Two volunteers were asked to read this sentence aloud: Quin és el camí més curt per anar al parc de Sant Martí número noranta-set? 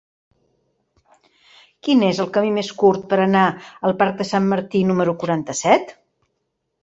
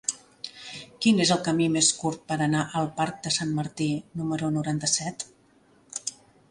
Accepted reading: second